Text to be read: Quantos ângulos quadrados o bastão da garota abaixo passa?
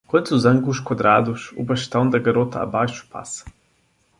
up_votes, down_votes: 2, 0